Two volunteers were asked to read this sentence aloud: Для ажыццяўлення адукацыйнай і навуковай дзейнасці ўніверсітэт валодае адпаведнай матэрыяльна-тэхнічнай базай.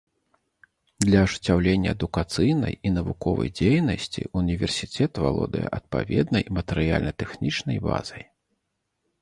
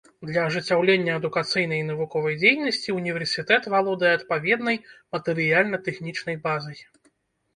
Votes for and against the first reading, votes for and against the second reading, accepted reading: 0, 2, 2, 0, second